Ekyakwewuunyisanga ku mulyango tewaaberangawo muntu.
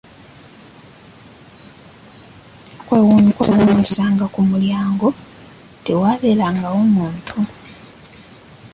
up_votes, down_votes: 1, 2